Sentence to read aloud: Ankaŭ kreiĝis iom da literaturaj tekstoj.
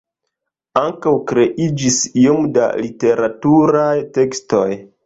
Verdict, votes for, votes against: accepted, 2, 1